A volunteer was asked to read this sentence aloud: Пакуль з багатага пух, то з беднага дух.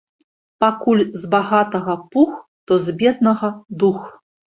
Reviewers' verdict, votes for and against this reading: accepted, 4, 0